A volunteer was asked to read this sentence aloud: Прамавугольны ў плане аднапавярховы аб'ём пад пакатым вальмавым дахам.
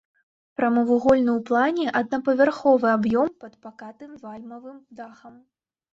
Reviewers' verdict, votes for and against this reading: rejected, 1, 2